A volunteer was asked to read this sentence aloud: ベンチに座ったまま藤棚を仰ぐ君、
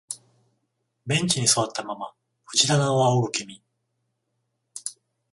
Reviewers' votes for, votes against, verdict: 14, 0, accepted